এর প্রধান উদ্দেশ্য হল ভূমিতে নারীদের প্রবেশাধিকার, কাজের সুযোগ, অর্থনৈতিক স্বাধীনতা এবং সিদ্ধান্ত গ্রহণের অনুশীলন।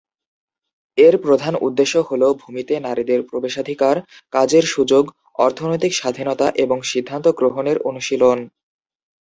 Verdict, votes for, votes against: accepted, 2, 0